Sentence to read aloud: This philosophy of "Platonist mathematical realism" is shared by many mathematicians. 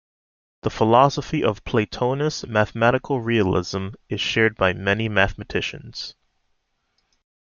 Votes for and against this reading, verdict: 0, 2, rejected